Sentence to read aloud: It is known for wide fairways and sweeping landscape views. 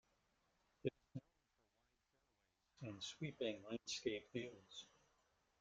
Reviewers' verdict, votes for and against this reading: rejected, 0, 2